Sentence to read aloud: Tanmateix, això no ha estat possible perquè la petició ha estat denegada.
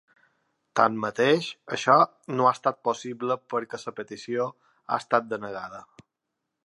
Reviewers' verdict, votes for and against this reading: accepted, 2, 0